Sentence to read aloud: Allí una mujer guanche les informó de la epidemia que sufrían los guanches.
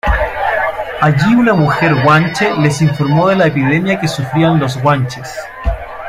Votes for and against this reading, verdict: 1, 2, rejected